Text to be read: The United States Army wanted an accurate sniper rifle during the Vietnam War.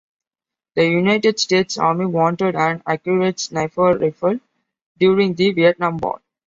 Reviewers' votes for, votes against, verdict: 2, 0, accepted